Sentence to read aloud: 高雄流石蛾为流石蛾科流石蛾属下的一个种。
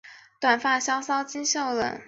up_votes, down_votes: 3, 4